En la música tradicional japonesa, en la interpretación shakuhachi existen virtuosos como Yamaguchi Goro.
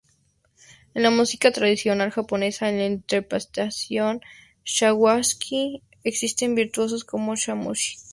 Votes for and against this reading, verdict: 0, 2, rejected